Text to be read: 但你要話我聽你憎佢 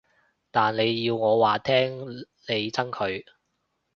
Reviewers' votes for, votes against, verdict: 2, 2, rejected